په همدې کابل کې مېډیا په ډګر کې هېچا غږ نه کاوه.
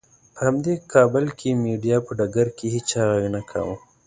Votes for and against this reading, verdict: 2, 0, accepted